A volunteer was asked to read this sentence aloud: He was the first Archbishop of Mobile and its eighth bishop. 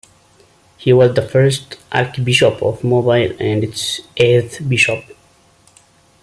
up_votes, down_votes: 2, 0